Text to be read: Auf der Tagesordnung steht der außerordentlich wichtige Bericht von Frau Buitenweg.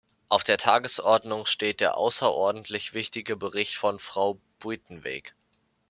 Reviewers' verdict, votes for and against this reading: accepted, 2, 0